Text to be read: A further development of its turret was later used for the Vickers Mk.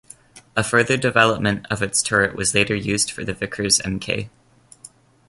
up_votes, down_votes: 2, 0